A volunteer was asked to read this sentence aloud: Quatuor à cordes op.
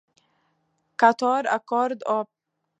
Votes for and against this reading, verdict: 2, 1, accepted